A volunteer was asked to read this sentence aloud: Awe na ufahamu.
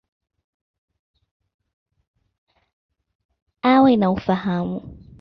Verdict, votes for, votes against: accepted, 2, 0